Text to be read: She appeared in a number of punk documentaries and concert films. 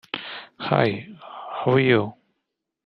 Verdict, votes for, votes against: rejected, 0, 2